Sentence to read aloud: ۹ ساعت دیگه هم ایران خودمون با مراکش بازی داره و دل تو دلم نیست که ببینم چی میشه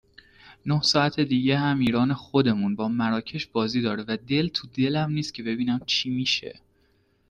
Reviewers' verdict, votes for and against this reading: rejected, 0, 2